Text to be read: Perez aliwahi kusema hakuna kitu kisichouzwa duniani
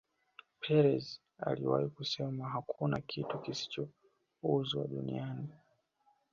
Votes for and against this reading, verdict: 0, 2, rejected